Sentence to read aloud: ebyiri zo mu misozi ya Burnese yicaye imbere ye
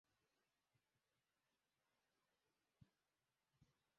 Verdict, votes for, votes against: rejected, 0, 2